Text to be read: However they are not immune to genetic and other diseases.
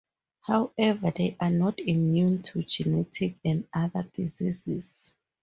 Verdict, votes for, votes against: accepted, 4, 0